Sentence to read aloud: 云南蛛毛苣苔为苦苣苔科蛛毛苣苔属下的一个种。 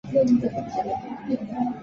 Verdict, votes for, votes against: rejected, 0, 2